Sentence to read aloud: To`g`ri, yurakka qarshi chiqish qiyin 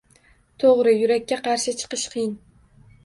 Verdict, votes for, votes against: accepted, 2, 0